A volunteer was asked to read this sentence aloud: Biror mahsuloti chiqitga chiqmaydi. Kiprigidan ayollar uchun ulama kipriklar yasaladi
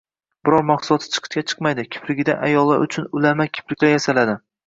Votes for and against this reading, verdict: 0, 2, rejected